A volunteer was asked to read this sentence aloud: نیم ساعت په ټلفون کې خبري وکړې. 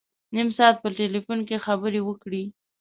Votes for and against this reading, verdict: 2, 0, accepted